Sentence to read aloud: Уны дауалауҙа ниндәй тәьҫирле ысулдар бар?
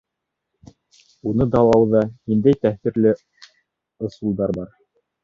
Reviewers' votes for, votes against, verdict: 1, 2, rejected